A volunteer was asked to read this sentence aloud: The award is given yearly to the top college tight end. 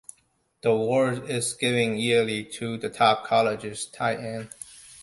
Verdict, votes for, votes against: rejected, 1, 2